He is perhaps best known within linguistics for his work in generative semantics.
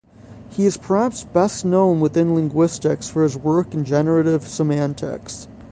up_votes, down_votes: 0, 3